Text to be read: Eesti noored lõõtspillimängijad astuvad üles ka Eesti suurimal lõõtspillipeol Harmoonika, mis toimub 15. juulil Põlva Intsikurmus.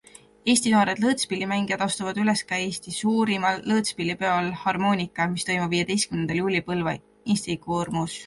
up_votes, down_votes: 0, 2